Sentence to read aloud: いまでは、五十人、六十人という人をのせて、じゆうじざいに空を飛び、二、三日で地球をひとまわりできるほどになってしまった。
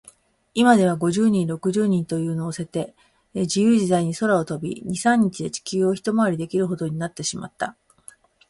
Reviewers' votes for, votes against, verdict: 2, 1, accepted